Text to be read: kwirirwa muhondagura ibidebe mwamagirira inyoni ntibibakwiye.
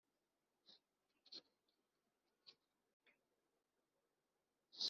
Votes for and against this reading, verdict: 0, 2, rejected